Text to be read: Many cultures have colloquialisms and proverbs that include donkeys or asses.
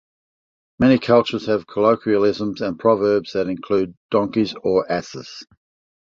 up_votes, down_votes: 2, 0